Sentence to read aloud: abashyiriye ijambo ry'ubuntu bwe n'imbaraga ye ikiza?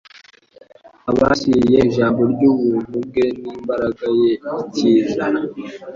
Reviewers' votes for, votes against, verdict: 2, 0, accepted